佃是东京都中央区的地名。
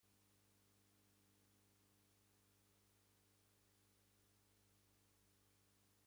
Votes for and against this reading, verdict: 0, 2, rejected